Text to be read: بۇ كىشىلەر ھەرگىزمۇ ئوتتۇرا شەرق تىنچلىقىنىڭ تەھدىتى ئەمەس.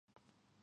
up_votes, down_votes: 0, 2